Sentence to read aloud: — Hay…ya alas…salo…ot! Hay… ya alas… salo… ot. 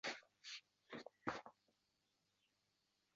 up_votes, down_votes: 0, 2